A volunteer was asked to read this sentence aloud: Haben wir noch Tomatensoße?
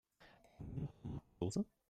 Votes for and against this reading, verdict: 0, 2, rejected